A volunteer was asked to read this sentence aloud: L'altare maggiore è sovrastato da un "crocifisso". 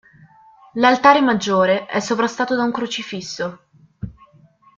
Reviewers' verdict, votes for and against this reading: accepted, 3, 0